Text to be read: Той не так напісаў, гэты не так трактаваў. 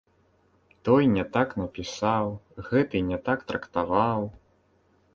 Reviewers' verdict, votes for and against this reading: rejected, 0, 2